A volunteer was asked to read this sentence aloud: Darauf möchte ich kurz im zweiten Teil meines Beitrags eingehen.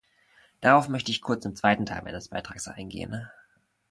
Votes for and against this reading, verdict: 2, 0, accepted